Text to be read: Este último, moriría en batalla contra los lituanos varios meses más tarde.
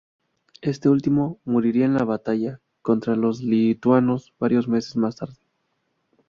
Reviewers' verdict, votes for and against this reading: rejected, 0, 2